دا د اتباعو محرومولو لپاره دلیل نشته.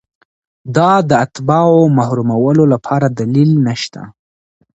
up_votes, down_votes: 2, 0